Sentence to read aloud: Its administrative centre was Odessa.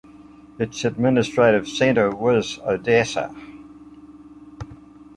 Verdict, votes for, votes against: accepted, 2, 0